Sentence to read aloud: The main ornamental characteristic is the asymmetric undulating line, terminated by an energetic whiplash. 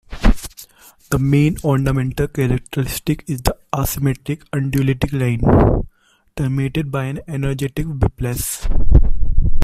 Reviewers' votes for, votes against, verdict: 0, 2, rejected